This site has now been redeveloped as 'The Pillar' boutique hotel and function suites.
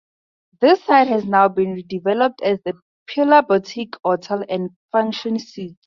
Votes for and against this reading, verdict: 0, 2, rejected